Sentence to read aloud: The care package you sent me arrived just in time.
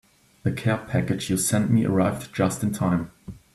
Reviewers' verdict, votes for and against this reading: accepted, 2, 0